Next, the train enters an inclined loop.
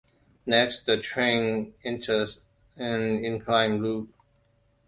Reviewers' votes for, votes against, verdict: 2, 1, accepted